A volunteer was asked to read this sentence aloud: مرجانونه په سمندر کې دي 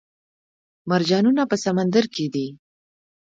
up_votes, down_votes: 0, 2